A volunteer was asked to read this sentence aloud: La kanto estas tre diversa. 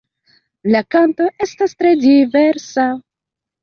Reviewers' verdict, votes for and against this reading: accepted, 2, 0